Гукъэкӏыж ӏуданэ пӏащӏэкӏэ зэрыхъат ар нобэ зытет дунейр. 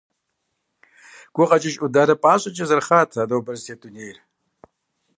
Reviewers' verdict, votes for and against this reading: accepted, 2, 0